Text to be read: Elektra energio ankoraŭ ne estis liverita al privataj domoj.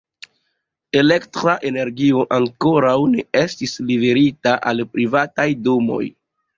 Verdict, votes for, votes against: rejected, 1, 2